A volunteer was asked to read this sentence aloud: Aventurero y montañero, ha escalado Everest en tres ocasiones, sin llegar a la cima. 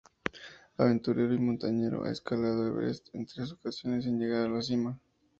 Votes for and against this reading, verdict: 2, 0, accepted